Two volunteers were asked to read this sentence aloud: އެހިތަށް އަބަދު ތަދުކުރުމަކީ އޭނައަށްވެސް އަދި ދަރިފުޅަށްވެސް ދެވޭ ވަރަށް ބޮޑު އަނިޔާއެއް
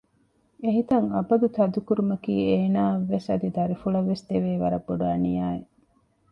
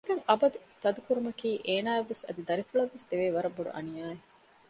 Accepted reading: first